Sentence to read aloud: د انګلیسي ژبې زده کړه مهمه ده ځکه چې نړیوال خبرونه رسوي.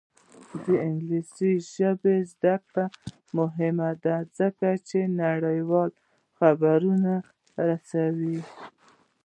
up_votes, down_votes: 0, 2